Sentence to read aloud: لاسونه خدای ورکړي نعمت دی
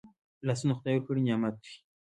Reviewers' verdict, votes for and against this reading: accepted, 2, 0